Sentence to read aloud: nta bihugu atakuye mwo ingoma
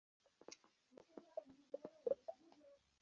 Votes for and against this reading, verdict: 0, 2, rejected